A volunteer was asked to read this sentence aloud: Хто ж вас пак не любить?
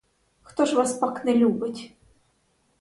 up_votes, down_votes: 0, 4